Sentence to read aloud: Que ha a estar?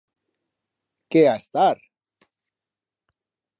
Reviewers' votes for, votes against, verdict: 2, 0, accepted